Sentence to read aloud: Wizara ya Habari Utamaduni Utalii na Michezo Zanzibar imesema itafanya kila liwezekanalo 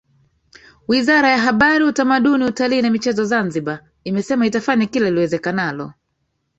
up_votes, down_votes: 2, 1